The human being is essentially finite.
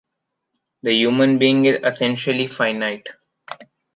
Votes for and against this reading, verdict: 2, 0, accepted